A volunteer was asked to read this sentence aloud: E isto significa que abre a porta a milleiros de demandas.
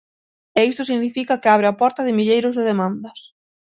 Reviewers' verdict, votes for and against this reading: rejected, 0, 6